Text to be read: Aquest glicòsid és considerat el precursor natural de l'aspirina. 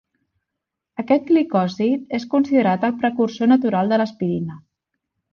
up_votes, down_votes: 1, 2